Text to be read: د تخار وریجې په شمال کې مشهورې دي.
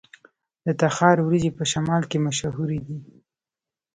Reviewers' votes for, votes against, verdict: 1, 2, rejected